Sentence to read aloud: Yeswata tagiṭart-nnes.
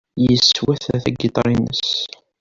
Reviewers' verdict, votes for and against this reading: rejected, 1, 2